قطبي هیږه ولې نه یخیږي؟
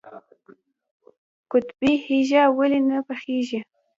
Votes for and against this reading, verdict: 0, 2, rejected